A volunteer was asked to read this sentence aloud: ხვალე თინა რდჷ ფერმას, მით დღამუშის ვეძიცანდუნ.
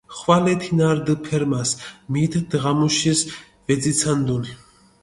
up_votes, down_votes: 2, 0